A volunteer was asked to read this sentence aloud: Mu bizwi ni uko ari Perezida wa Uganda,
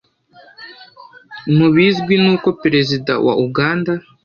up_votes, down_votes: 1, 2